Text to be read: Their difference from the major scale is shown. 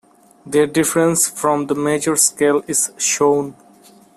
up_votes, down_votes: 0, 2